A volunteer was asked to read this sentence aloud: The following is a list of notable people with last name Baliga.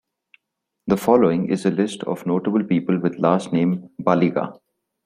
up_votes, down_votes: 2, 0